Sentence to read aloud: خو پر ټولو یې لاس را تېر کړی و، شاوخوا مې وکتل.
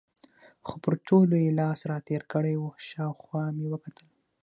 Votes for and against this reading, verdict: 6, 0, accepted